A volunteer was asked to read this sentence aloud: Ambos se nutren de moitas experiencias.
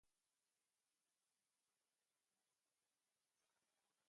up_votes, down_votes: 0, 2